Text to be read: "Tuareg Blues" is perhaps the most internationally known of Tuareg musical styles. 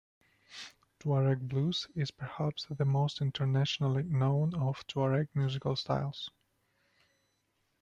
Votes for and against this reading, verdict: 2, 1, accepted